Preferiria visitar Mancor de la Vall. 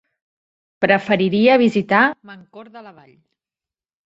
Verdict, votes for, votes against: accepted, 4, 1